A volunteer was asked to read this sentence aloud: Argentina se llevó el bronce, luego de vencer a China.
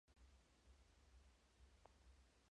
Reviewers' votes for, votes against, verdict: 0, 2, rejected